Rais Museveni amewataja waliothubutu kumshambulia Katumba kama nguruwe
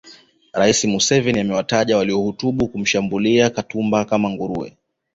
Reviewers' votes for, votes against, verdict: 1, 2, rejected